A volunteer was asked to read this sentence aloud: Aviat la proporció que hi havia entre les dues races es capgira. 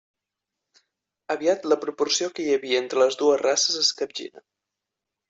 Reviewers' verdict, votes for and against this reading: accepted, 2, 0